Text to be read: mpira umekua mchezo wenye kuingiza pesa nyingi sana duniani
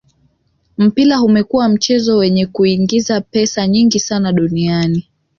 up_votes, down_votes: 2, 0